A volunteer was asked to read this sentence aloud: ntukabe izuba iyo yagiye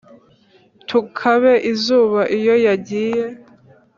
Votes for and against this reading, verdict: 2, 3, rejected